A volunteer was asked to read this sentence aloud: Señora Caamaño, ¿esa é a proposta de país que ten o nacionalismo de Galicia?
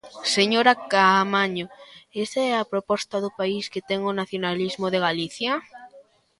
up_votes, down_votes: 0, 2